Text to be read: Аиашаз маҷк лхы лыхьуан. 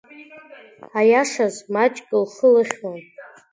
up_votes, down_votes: 2, 1